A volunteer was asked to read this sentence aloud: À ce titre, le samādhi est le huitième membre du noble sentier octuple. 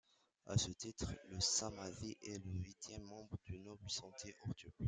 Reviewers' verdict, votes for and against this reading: rejected, 1, 2